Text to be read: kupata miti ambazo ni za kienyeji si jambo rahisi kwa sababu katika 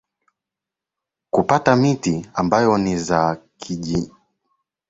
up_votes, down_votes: 1, 2